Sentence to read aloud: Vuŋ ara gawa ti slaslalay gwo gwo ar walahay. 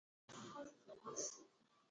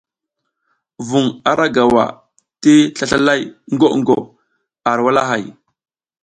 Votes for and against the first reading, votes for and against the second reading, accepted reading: 1, 3, 2, 0, second